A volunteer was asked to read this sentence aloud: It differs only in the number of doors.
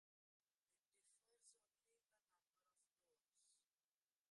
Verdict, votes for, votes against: rejected, 0, 2